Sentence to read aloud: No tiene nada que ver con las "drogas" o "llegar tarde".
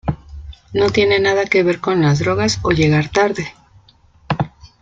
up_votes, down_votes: 2, 0